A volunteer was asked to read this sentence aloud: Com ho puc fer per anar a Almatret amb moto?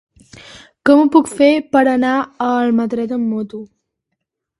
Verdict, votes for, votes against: accepted, 3, 0